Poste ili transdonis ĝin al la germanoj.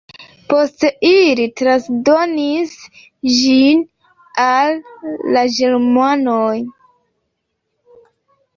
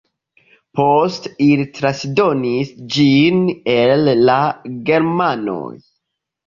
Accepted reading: second